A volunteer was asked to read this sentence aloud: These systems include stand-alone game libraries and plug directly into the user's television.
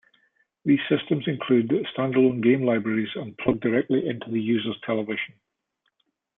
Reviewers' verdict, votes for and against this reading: accepted, 2, 0